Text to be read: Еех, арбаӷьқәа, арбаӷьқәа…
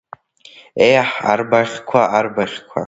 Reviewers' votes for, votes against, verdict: 1, 2, rejected